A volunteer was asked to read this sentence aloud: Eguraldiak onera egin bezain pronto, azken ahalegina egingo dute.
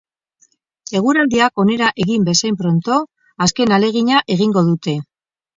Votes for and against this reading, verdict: 2, 0, accepted